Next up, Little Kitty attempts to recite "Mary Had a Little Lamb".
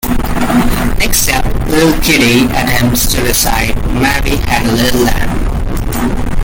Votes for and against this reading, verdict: 1, 2, rejected